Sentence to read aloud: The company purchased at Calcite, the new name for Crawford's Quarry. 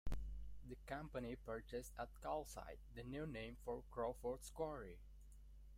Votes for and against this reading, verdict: 2, 0, accepted